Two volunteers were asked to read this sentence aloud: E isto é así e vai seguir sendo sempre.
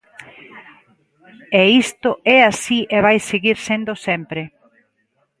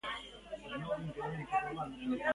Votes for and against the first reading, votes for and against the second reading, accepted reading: 2, 0, 0, 3, first